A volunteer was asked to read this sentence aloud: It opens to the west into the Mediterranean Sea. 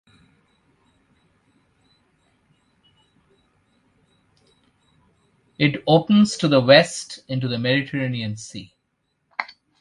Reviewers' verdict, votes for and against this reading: rejected, 1, 2